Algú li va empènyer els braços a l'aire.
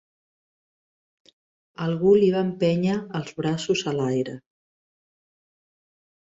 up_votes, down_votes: 3, 0